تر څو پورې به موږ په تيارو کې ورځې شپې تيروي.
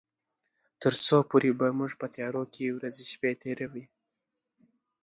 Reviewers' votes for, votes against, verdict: 2, 0, accepted